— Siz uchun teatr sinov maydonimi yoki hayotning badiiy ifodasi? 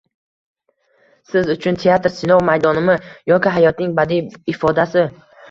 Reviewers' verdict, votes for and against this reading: accepted, 2, 0